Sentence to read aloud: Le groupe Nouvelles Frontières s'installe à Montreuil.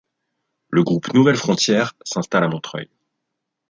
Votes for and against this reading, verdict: 2, 0, accepted